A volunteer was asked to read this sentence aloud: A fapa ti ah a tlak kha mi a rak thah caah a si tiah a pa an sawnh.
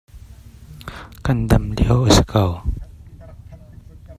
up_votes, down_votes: 0, 2